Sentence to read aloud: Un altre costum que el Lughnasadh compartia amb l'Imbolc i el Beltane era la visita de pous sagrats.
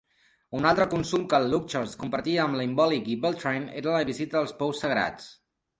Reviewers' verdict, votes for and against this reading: rejected, 0, 3